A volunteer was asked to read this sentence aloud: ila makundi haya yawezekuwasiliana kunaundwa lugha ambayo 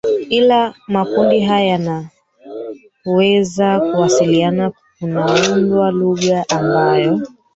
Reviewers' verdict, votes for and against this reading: rejected, 0, 3